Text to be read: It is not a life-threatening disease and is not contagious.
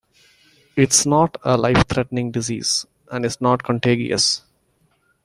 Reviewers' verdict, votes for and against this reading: accepted, 2, 0